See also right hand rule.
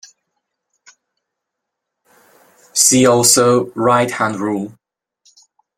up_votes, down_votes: 1, 2